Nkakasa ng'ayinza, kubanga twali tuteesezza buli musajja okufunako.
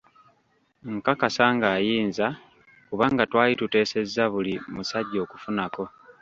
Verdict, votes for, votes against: rejected, 0, 2